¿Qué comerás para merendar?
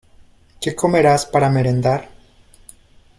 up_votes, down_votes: 2, 0